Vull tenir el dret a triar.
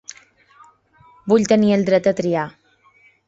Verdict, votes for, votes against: accepted, 5, 0